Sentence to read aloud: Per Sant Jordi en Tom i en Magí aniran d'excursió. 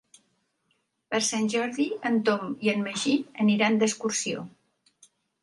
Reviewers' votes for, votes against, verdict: 3, 0, accepted